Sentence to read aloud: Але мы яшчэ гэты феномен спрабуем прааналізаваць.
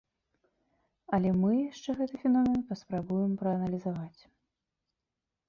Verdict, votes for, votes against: rejected, 0, 2